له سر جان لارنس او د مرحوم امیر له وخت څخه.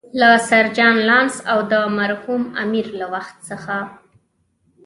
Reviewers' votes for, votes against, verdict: 1, 2, rejected